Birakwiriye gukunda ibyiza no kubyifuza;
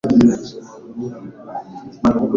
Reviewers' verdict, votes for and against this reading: rejected, 1, 2